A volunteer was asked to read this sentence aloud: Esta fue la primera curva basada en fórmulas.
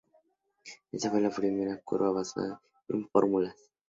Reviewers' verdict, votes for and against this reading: rejected, 0, 2